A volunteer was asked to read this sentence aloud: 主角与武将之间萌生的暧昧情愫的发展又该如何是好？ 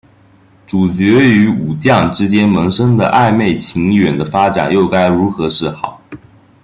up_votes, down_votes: 0, 2